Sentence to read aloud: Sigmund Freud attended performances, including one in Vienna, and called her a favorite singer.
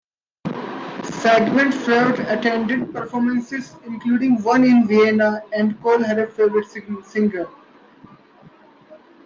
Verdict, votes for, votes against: accepted, 2, 0